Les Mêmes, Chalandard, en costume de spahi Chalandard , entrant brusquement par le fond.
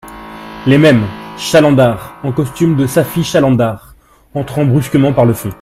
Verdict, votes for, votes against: rejected, 1, 2